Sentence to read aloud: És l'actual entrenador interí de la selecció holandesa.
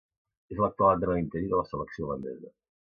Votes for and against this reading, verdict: 0, 2, rejected